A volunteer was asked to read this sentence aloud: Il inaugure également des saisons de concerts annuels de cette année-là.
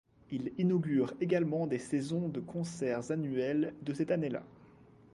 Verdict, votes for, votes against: accepted, 2, 0